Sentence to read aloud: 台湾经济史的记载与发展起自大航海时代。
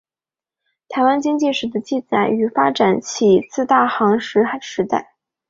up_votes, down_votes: 1, 3